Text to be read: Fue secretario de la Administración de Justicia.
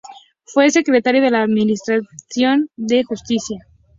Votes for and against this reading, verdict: 2, 0, accepted